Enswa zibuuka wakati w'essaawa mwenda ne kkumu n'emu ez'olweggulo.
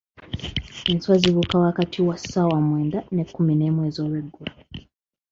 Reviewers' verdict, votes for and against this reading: rejected, 1, 2